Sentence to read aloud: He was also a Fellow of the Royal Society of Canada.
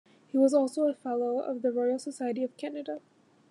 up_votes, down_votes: 2, 0